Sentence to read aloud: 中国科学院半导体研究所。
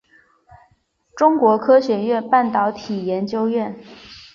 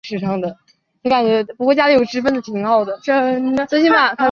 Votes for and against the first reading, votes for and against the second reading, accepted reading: 2, 0, 1, 2, first